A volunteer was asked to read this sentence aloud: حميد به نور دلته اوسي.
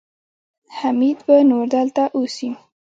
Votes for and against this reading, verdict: 2, 0, accepted